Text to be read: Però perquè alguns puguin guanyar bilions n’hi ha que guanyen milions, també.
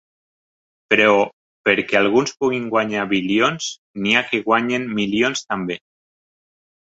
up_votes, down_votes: 2, 0